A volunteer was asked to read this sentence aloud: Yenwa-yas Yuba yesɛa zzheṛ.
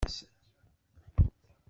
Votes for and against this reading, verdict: 0, 2, rejected